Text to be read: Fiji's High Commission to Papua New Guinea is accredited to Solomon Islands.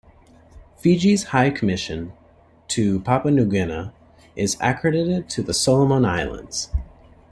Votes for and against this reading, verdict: 1, 2, rejected